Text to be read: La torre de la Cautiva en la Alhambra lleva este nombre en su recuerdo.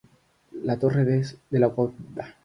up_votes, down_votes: 0, 3